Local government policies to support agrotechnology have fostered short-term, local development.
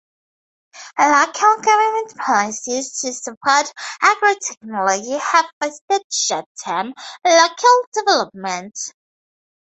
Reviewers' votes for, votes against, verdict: 0, 2, rejected